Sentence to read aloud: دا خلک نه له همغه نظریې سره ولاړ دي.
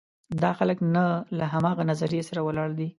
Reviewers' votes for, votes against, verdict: 2, 0, accepted